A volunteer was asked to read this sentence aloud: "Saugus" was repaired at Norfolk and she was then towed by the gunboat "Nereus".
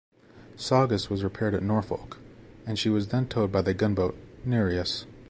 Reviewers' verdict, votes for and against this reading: accepted, 3, 0